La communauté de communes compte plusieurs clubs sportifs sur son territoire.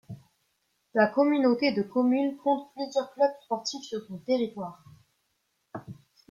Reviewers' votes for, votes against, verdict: 2, 1, accepted